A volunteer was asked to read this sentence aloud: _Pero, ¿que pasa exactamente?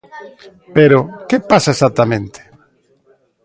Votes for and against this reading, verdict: 2, 0, accepted